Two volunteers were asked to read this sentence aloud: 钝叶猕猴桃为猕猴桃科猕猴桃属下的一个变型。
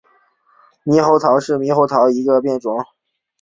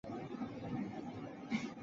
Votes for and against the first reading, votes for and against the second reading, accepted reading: 2, 0, 0, 4, first